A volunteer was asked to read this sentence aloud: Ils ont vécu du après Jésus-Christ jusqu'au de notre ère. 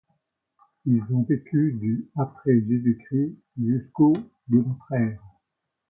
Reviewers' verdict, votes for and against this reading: rejected, 1, 2